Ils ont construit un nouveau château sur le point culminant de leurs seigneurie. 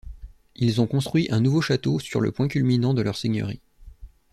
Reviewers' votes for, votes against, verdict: 2, 1, accepted